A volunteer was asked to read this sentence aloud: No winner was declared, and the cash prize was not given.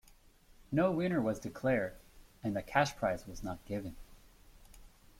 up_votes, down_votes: 3, 0